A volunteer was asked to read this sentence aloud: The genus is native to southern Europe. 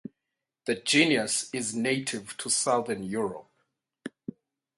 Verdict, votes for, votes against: rejected, 4, 4